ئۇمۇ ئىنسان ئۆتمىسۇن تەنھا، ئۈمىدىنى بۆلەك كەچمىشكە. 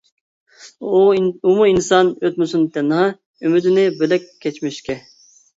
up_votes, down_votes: 1, 2